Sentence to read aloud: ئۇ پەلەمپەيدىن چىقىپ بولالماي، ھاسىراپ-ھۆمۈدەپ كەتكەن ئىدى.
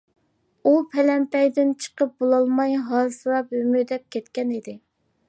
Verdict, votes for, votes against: accepted, 2, 0